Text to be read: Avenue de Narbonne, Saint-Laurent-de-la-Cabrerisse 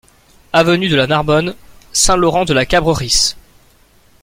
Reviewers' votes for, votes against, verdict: 0, 2, rejected